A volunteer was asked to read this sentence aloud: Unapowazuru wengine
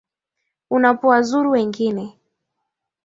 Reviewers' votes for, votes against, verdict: 2, 0, accepted